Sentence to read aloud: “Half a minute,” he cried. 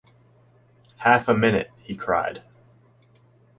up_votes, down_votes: 2, 0